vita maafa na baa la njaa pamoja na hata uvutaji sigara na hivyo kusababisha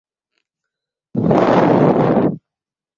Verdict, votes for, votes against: rejected, 0, 2